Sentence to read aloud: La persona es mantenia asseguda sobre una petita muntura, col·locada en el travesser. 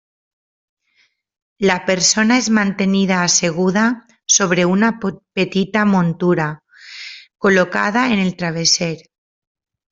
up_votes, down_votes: 0, 2